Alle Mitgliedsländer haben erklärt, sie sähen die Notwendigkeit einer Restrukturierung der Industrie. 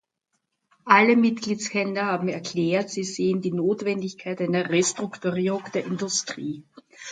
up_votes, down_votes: 2, 0